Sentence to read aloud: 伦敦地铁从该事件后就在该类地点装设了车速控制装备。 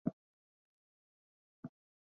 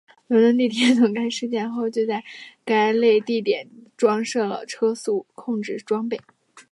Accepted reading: second